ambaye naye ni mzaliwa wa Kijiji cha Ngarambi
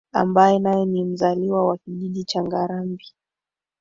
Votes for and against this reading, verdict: 3, 1, accepted